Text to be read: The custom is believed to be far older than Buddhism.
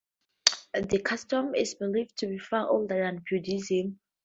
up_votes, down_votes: 2, 0